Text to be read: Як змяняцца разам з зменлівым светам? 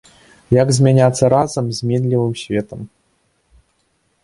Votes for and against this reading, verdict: 2, 0, accepted